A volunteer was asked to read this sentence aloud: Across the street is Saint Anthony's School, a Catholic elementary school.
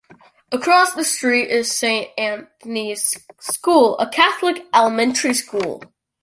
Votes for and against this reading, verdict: 2, 0, accepted